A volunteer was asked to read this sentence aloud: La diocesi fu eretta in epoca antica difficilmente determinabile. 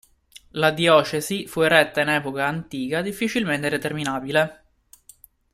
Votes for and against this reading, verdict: 2, 0, accepted